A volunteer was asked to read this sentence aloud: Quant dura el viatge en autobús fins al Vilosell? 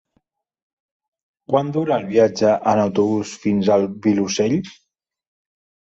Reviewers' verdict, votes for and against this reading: accepted, 3, 0